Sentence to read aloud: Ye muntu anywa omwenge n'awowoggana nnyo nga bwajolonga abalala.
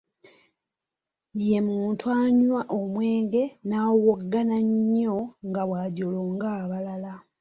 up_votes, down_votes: 2, 0